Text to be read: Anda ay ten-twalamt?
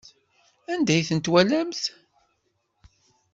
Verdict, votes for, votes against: accepted, 2, 0